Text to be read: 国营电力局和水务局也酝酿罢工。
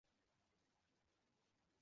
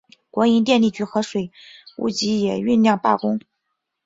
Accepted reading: second